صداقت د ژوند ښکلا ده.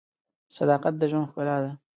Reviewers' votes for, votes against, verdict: 2, 0, accepted